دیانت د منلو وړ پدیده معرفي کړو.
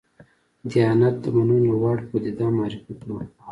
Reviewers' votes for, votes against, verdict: 1, 2, rejected